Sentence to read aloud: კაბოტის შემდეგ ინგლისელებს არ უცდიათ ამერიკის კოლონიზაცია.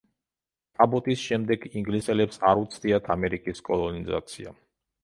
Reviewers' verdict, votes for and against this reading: accepted, 2, 1